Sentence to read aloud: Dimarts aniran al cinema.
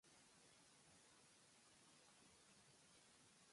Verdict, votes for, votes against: rejected, 1, 2